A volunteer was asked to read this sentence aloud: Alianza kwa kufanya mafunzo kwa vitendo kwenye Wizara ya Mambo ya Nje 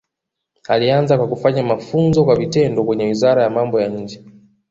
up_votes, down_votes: 2, 0